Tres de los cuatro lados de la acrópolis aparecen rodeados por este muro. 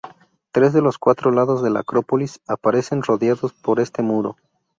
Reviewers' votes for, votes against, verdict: 2, 0, accepted